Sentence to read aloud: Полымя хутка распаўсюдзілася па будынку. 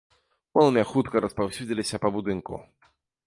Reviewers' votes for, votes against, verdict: 1, 2, rejected